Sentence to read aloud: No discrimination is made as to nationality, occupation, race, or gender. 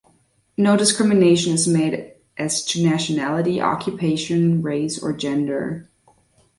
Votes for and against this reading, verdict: 1, 2, rejected